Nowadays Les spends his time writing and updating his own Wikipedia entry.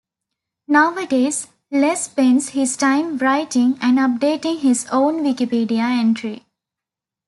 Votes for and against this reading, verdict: 2, 0, accepted